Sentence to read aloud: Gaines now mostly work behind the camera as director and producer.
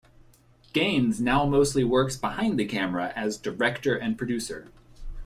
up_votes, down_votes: 3, 1